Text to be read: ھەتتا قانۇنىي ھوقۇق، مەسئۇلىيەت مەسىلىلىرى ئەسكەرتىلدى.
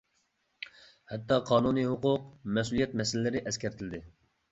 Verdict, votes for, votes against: accepted, 2, 0